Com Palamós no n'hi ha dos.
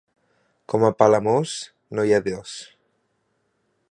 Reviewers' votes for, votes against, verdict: 0, 2, rejected